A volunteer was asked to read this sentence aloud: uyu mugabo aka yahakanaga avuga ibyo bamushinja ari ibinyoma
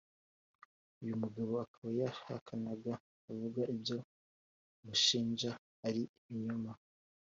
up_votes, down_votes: 2, 0